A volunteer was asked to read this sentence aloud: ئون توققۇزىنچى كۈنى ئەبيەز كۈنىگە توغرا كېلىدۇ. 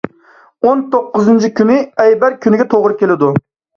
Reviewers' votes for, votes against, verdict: 0, 2, rejected